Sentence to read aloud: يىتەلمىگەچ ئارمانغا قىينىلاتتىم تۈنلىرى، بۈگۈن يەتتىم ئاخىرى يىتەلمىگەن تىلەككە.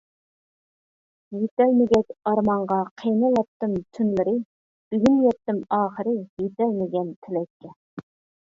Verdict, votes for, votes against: rejected, 1, 2